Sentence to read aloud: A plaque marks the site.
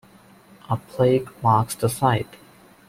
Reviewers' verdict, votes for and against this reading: rejected, 1, 2